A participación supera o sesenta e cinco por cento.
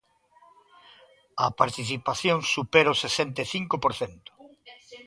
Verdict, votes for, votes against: accepted, 2, 0